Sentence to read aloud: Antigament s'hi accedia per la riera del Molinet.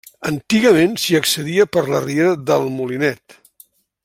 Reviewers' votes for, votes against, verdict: 3, 0, accepted